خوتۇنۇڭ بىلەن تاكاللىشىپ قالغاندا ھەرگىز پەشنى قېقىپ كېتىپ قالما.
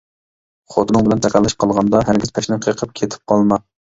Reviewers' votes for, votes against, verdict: 2, 1, accepted